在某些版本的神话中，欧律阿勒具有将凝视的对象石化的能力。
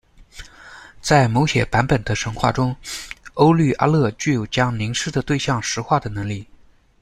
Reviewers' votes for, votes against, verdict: 0, 2, rejected